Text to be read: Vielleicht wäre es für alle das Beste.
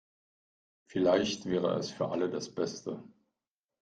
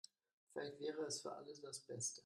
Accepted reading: first